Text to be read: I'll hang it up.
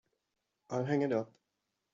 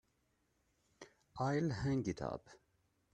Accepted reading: first